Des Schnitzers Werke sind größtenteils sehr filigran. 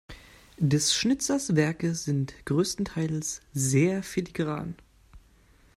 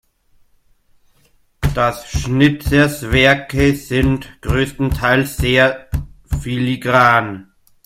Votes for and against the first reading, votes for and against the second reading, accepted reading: 2, 0, 0, 2, first